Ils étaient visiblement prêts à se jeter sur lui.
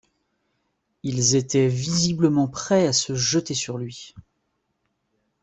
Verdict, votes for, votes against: accepted, 2, 0